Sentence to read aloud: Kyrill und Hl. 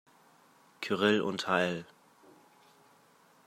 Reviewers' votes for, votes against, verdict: 0, 2, rejected